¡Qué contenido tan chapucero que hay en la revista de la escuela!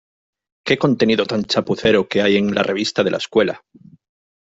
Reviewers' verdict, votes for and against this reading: accepted, 2, 0